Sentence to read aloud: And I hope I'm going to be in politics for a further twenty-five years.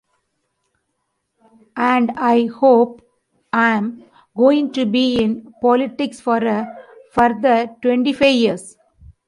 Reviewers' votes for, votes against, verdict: 2, 0, accepted